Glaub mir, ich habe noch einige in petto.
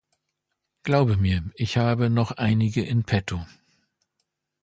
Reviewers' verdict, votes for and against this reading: rejected, 1, 2